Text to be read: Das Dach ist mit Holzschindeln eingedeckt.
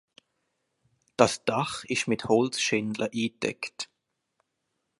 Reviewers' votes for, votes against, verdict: 1, 2, rejected